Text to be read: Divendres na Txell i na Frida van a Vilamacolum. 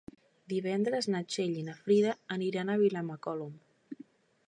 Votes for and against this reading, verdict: 0, 2, rejected